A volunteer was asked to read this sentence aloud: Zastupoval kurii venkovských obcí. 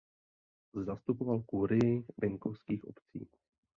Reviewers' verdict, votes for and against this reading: accepted, 2, 0